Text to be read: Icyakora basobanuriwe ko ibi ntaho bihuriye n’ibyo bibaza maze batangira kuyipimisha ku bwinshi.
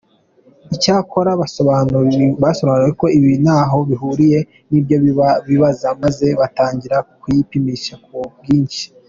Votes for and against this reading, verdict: 1, 2, rejected